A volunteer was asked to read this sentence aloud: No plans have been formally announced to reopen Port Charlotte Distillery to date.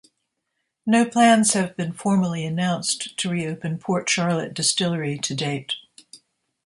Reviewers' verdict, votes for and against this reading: accepted, 2, 0